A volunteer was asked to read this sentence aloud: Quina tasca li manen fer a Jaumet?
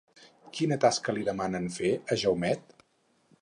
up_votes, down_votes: 2, 4